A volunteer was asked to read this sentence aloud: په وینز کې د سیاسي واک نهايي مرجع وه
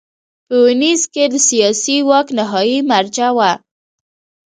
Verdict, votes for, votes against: rejected, 1, 2